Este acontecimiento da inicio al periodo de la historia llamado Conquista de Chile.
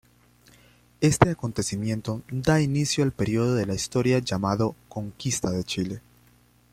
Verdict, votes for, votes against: accepted, 2, 1